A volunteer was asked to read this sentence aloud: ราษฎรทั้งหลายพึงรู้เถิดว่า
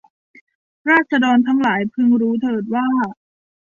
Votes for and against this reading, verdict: 2, 0, accepted